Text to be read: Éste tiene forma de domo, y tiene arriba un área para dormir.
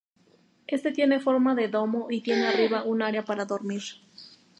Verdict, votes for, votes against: accepted, 2, 0